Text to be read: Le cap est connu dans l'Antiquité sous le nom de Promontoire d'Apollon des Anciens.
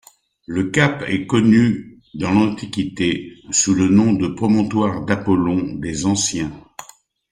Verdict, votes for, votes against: accepted, 2, 0